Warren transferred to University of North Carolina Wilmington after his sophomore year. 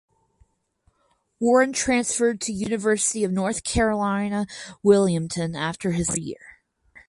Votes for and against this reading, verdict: 0, 4, rejected